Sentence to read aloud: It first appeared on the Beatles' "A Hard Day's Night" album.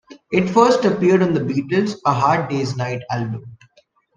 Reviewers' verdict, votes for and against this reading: accepted, 2, 0